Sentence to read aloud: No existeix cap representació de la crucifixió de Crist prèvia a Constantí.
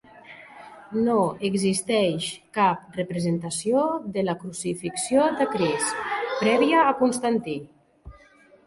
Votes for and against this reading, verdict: 1, 2, rejected